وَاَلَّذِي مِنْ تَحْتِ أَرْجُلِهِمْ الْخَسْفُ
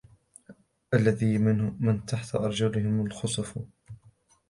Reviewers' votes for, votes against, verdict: 0, 2, rejected